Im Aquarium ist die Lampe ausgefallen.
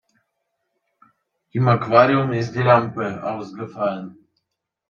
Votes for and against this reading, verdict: 2, 0, accepted